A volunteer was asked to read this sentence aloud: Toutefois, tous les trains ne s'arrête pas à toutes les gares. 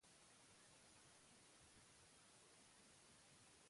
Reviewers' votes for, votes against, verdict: 0, 2, rejected